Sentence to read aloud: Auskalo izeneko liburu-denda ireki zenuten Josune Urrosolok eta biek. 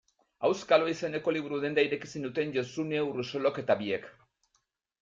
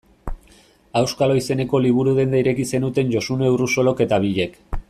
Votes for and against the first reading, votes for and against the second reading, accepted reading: 2, 0, 0, 2, first